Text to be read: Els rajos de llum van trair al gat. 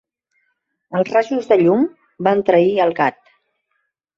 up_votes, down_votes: 2, 0